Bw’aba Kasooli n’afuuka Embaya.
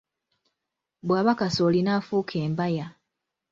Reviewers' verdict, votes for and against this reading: accepted, 2, 0